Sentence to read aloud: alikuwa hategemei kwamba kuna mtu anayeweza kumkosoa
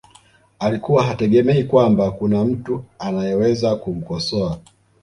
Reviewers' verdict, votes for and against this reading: rejected, 0, 2